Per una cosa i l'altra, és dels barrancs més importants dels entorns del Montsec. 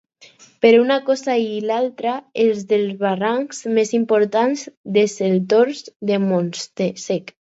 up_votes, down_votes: 0, 4